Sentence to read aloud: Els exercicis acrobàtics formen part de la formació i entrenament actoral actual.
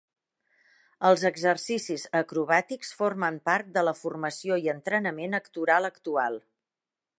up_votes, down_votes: 2, 0